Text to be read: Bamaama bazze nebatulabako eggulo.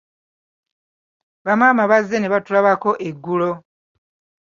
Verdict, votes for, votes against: accepted, 2, 0